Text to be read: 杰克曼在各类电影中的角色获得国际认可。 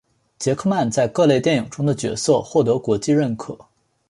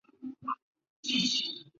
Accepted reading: first